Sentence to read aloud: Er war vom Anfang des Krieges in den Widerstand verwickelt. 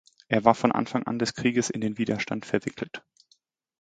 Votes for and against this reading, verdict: 1, 2, rejected